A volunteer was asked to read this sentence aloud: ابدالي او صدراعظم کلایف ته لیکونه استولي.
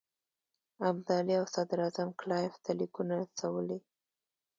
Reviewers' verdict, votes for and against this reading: rejected, 1, 2